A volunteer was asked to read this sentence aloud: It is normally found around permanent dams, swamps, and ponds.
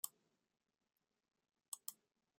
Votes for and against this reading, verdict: 1, 2, rejected